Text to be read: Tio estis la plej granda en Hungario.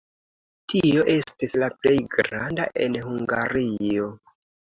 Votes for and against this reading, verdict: 2, 0, accepted